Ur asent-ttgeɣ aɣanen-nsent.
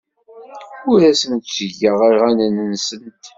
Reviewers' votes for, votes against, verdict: 2, 3, rejected